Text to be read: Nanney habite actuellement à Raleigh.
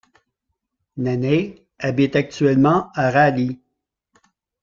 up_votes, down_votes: 1, 2